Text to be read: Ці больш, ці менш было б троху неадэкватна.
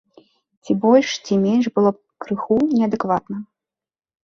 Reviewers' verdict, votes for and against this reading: rejected, 0, 2